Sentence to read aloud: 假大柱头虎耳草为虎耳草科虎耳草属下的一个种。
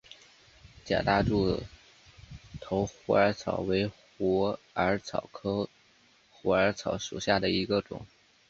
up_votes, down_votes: 4, 1